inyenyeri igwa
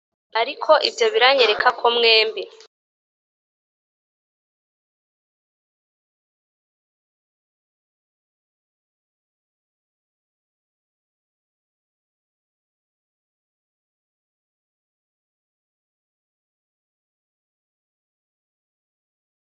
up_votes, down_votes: 1, 2